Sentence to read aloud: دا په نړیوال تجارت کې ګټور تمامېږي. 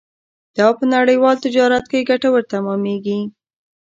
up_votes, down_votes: 2, 0